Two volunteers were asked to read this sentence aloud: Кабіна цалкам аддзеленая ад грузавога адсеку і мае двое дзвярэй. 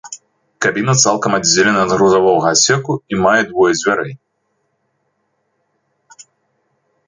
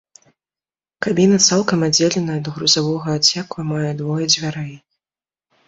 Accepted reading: second